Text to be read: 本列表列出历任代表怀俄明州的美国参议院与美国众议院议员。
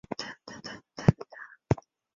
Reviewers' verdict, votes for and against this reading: accepted, 2, 0